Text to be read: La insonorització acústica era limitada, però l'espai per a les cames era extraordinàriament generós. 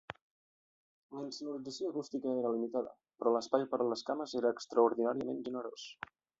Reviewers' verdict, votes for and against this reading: rejected, 1, 2